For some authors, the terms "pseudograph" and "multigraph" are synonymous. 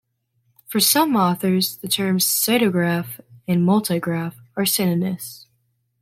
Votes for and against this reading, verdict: 1, 2, rejected